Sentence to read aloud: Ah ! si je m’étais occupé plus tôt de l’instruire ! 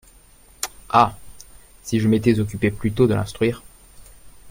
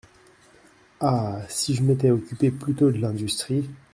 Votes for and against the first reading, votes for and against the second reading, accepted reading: 2, 0, 1, 2, first